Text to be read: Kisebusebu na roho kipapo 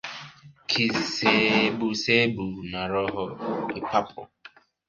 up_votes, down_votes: 2, 3